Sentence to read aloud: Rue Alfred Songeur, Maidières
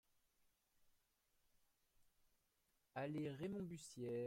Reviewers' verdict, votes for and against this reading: rejected, 0, 2